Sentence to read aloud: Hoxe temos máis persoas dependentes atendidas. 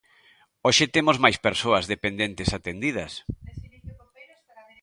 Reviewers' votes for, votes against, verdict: 1, 2, rejected